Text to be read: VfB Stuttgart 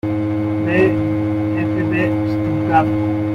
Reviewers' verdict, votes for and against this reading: rejected, 1, 2